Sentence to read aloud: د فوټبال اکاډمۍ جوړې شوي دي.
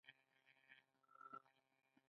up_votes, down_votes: 0, 2